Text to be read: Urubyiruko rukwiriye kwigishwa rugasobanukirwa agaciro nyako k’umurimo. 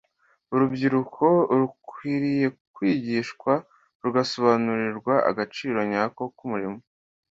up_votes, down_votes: 2, 0